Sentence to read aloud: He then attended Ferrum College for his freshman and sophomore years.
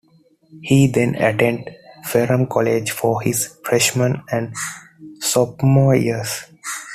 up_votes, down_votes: 0, 2